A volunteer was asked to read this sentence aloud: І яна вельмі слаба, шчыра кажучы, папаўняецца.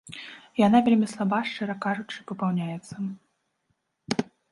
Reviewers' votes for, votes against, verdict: 1, 2, rejected